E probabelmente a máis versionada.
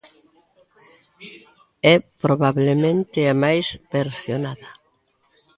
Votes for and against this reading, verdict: 0, 2, rejected